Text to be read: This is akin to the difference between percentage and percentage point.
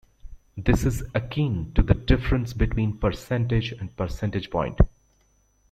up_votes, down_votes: 2, 1